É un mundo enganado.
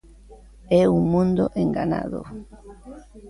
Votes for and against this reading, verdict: 0, 2, rejected